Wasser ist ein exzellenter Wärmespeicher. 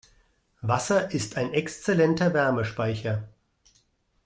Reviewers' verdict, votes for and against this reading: accepted, 2, 0